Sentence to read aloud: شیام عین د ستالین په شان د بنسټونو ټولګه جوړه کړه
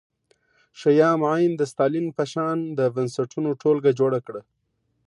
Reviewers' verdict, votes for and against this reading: accepted, 2, 0